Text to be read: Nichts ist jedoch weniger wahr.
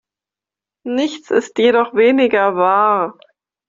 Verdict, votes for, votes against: accepted, 2, 0